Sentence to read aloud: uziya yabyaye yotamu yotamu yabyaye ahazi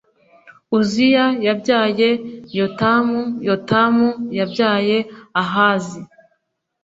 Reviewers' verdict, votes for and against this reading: accepted, 3, 0